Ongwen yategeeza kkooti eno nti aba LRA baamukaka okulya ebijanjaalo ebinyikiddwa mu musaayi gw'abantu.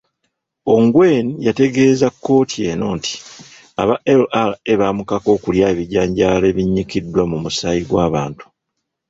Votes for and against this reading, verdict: 0, 2, rejected